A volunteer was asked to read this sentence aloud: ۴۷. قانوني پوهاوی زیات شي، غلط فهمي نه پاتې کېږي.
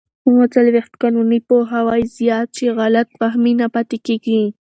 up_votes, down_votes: 0, 2